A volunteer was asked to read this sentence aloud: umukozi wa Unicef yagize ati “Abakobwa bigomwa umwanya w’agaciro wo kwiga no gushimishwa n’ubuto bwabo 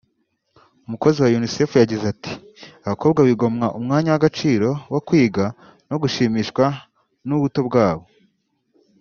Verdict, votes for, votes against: rejected, 1, 2